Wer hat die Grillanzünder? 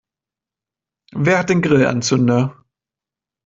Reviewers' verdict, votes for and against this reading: rejected, 0, 2